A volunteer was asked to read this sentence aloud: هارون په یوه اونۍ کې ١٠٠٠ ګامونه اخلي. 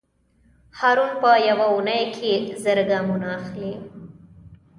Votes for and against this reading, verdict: 0, 2, rejected